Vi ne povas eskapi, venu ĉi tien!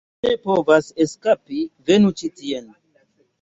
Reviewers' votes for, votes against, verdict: 1, 2, rejected